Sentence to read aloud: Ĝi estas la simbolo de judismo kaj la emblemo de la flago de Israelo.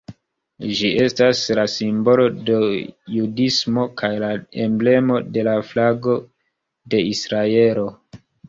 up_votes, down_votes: 1, 2